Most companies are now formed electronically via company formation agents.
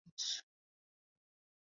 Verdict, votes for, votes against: rejected, 0, 2